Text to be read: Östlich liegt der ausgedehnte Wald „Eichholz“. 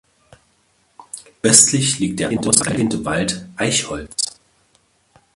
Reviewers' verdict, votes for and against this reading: rejected, 0, 2